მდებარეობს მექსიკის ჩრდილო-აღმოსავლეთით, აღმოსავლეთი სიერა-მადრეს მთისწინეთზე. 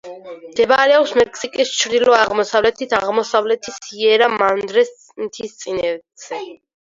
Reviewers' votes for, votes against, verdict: 2, 4, rejected